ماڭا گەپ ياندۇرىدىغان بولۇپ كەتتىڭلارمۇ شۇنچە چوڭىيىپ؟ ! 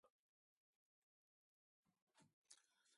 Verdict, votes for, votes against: rejected, 0, 2